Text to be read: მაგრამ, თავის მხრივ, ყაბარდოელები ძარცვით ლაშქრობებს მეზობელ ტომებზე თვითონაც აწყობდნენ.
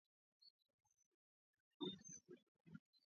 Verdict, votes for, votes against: rejected, 0, 2